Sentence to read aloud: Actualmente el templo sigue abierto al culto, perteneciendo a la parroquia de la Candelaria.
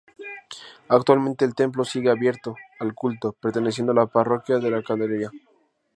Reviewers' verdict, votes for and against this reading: rejected, 2, 2